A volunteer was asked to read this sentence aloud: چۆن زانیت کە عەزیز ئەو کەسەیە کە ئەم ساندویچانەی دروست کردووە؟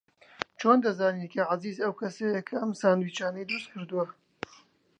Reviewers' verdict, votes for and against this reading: rejected, 1, 2